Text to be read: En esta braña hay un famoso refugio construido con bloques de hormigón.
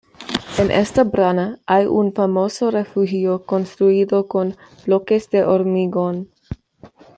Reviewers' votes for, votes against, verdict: 1, 2, rejected